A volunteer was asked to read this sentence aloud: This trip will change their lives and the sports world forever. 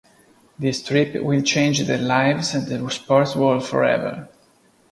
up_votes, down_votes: 2, 1